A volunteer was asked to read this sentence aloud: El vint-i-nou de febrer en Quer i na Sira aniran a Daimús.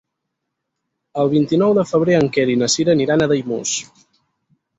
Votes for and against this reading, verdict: 4, 0, accepted